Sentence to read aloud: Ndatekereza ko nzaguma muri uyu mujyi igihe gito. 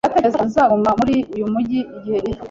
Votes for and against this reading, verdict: 2, 1, accepted